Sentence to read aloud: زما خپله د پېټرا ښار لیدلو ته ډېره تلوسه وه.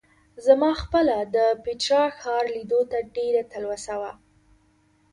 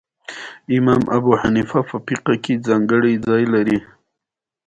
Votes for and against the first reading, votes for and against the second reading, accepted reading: 2, 0, 0, 2, first